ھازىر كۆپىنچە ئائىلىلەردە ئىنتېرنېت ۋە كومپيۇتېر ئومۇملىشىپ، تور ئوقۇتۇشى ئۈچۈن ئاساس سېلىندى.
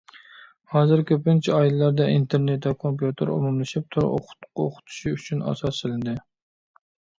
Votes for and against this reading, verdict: 0, 2, rejected